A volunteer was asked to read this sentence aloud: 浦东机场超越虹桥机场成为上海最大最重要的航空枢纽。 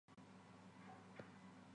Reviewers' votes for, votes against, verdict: 0, 2, rejected